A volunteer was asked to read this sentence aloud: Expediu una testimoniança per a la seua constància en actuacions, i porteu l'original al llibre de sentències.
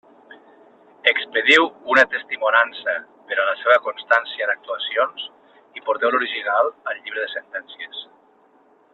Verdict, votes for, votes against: rejected, 1, 2